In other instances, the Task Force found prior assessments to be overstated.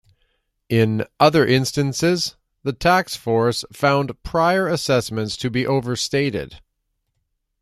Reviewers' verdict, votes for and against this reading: rejected, 0, 2